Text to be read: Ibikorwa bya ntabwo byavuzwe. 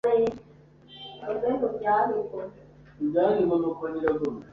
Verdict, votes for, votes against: rejected, 0, 2